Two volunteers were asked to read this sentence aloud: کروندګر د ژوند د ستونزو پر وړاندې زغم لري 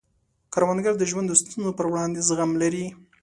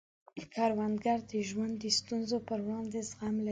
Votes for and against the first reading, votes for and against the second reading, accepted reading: 2, 0, 1, 2, first